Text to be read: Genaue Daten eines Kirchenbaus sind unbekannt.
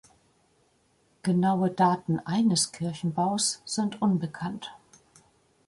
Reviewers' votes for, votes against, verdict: 2, 0, accepted